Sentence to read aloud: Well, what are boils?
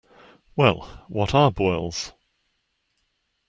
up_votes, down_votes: 2, 0